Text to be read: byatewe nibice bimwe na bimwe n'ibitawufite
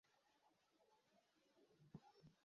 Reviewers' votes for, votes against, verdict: 1, 2, rejected